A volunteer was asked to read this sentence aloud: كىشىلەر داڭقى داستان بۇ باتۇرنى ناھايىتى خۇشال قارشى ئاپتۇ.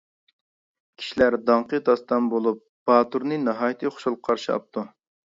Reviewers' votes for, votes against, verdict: 0, 2, rejected